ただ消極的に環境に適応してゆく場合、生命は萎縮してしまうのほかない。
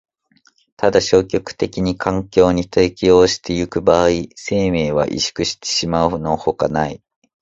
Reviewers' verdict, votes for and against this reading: accepted, 2, 0